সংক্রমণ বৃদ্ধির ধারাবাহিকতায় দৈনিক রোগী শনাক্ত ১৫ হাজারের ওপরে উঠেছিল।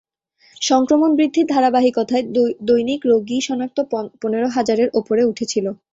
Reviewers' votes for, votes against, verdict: 0, 2, rejected